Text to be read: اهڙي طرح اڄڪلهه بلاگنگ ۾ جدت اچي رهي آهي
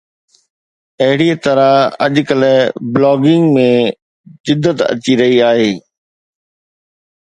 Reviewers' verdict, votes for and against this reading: accepted, 2, 0